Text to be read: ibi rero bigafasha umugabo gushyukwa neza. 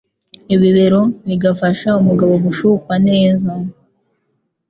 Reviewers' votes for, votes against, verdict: 2, 0, accepted